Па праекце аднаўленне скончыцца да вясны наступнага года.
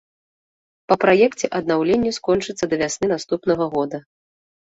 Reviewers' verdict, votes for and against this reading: accepted, 2, 0